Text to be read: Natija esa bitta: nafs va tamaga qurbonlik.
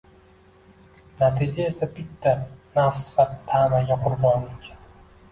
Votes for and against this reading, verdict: 2, 0, accepted